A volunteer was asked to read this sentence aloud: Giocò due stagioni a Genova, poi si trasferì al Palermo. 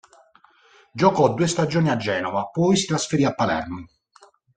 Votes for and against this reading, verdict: 1, 2, rejected